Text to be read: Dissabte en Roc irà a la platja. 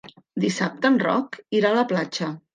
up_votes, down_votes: 3, 0